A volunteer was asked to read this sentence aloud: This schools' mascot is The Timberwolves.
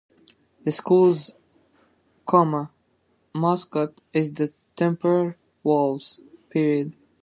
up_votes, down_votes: 0, 2